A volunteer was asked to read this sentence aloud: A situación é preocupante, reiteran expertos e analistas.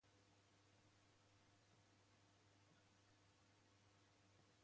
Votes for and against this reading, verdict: 0, 2, rejected